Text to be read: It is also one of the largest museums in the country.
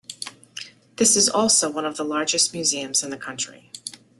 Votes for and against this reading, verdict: 1, 2, rejected